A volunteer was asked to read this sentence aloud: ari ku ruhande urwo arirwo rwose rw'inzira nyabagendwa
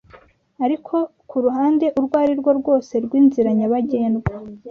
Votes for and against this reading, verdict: 2, 0, accepted